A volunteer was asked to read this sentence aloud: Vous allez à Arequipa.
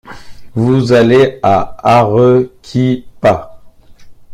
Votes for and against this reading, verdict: 2, 0, accepted